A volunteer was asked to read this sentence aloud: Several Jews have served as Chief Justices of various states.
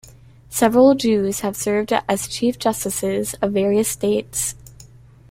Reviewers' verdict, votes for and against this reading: accepted, 2, 0